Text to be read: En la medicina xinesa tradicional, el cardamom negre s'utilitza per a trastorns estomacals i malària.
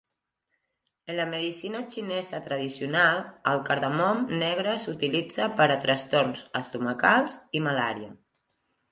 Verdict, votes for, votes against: accepted, 3, 0